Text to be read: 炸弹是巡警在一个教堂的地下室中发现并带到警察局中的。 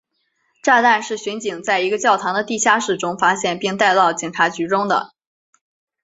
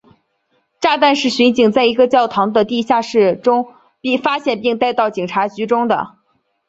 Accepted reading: first